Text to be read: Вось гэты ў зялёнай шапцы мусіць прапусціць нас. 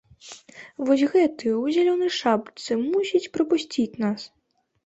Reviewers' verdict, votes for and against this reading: accepted, 2, 0